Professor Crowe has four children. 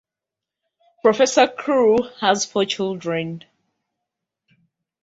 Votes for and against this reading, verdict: 0, 2, rejected